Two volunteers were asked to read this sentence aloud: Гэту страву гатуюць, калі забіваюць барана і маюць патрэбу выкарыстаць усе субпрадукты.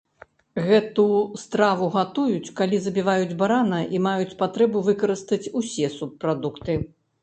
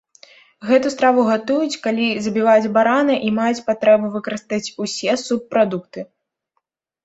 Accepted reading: second